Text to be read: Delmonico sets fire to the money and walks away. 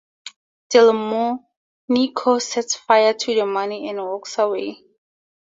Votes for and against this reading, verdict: 4, 0, accepted